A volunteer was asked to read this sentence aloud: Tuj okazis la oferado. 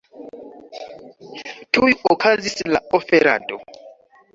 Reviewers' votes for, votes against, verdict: 2, 0, accepted